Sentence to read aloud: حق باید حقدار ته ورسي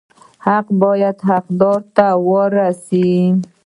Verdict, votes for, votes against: rejected, 0, 2